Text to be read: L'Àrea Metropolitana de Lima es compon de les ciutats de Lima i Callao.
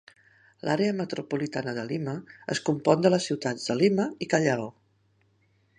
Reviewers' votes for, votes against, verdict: 0, 2, rejected